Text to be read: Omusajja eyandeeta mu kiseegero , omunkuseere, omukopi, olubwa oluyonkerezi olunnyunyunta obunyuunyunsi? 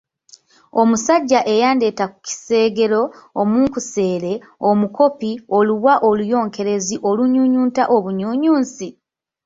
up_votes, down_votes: 1, 2